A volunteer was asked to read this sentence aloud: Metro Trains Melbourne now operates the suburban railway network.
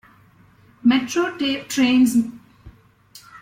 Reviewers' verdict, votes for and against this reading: rejected, 0, 2